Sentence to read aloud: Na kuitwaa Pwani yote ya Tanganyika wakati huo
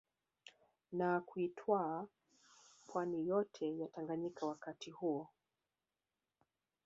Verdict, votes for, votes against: rejected, 0, 2